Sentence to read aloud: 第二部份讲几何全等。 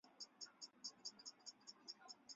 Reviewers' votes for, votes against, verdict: 2, 3, rejected